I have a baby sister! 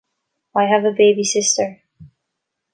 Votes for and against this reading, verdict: 2, 0, accepted